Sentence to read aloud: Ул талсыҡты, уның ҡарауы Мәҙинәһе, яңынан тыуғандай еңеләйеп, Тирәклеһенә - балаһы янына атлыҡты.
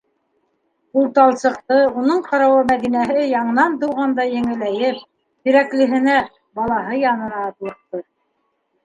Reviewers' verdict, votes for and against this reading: accepted, 2, 0